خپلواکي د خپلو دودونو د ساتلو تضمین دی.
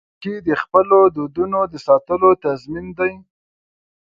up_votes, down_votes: 1, 2